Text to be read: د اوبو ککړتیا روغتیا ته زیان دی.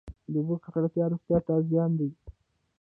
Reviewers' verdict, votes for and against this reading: rejected, 0, 2